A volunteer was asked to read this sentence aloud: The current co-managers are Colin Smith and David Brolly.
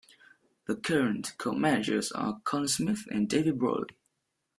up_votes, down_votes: 2, 0